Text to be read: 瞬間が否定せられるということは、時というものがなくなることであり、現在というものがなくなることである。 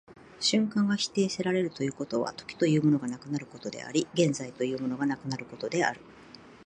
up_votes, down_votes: 2, 0